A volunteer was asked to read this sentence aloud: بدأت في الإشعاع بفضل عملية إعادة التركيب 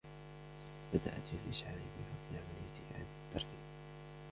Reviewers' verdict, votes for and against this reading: accepted, 2, 0